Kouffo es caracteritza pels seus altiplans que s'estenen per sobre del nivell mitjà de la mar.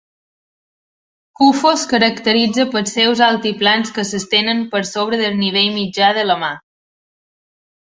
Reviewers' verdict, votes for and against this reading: accepted, 3, 0